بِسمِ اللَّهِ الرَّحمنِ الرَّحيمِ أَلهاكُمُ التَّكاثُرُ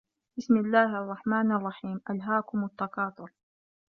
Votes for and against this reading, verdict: 2, 1, accepted